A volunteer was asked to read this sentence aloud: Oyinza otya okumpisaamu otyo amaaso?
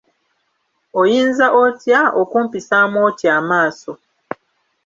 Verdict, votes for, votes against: accepted, 2, 0